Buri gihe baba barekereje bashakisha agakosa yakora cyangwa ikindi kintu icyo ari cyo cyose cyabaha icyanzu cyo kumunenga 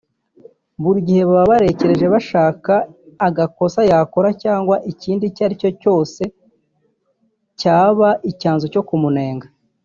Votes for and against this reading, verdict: 1, 2, rejected